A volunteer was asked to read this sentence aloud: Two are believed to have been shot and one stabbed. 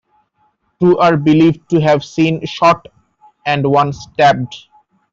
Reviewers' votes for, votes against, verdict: 1, 2, rejected